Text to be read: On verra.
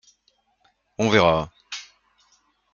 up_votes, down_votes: 2, 0